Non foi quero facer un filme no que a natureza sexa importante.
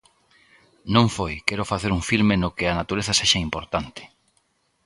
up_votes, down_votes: 2, 0